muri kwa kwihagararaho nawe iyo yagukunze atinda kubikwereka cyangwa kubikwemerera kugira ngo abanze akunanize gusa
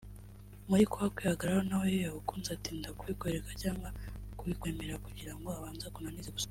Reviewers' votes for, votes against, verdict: 0, 2, rejected